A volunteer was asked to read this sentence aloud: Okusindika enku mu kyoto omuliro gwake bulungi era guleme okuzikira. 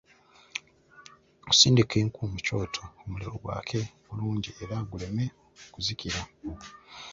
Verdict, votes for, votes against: rejected, 0, 2